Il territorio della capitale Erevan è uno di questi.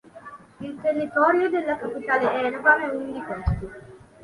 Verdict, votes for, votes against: accepted, 2, 0